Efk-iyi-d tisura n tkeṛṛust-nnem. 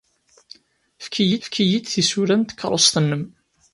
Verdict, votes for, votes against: rejected, 0, 2